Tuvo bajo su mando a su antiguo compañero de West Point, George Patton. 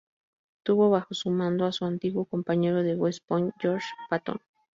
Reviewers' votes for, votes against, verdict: 4, 0, accepted